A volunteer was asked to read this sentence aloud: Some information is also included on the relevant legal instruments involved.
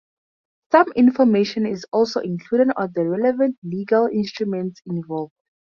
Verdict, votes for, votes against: accepted, 2, 0